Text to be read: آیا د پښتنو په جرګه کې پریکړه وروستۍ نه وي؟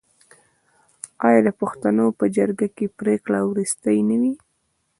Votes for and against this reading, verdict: 0, 2, rejected